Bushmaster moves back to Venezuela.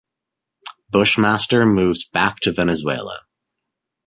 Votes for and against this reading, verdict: 2, 0, accepted